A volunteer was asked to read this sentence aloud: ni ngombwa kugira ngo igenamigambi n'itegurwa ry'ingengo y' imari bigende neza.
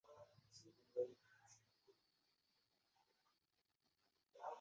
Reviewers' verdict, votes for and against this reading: rejected, 0, 2